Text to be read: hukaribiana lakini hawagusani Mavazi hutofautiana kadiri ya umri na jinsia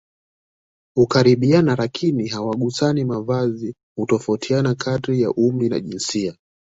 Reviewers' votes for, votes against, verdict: 2, 0, accepted